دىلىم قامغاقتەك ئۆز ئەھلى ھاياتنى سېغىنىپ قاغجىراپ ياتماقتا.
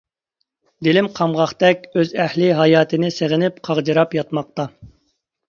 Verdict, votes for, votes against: rejected, 1, 2